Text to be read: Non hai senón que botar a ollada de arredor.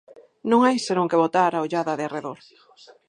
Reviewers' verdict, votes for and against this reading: accepted, 4, 0